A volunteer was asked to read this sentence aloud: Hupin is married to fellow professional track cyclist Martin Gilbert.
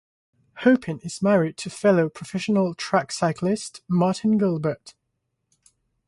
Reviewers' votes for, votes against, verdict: 6, 0, accepted